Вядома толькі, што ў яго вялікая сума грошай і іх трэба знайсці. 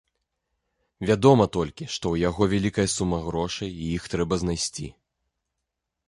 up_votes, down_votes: 2, 0